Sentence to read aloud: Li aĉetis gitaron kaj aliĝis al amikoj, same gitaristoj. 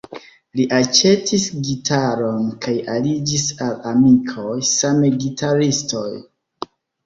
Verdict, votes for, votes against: rejected, 0, 2